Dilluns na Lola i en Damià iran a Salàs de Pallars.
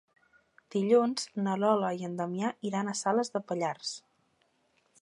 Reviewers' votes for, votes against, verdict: 2, 0, accepted